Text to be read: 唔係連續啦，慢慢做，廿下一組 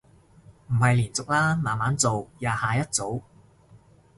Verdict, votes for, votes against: accepted, 2, 0